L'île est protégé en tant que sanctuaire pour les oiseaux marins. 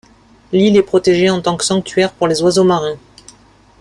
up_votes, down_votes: 2, 0